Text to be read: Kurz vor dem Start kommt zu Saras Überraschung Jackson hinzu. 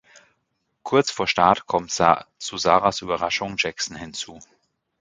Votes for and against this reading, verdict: 0, 2, rejected